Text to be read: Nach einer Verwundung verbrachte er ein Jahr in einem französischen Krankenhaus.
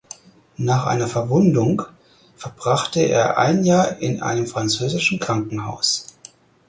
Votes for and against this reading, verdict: 4, 0, accepted